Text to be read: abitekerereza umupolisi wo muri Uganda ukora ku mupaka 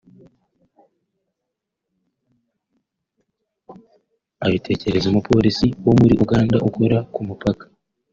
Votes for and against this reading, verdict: 2, 0, accepted